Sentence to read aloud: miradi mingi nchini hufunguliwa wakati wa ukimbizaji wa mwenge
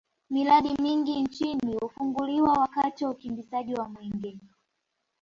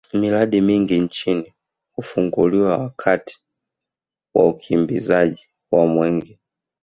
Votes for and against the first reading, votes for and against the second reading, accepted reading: 2, 1, 0, 2, first